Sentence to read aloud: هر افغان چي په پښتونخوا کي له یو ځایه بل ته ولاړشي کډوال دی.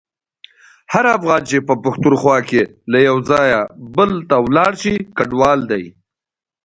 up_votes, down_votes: 2, 1